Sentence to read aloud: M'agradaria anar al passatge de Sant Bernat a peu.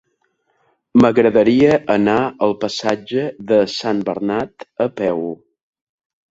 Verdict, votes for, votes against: accepted, 3, 0